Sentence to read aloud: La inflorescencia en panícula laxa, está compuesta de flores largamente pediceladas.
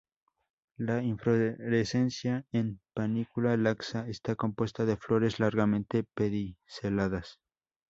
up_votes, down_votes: 0, 4